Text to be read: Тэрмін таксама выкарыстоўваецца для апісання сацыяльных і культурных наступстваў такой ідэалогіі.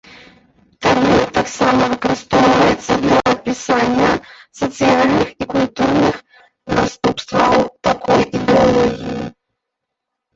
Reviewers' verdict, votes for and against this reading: rejected, 0, 2